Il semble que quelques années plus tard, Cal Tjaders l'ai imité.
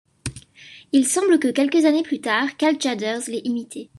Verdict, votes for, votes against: accepted, 2, 0